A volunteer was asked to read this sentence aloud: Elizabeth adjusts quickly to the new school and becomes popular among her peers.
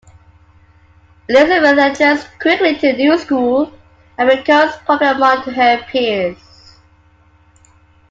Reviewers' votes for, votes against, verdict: 0, 2, rejected